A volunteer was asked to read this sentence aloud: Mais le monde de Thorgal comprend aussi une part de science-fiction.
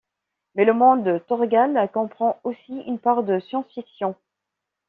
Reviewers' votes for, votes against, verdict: 2, 0, accepted